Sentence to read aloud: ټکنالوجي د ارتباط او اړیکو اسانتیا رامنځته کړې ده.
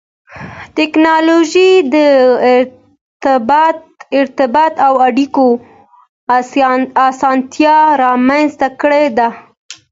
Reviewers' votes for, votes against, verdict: 2, 0, accepted